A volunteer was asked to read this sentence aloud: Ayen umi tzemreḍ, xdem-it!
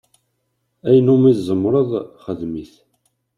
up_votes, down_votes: 2, 0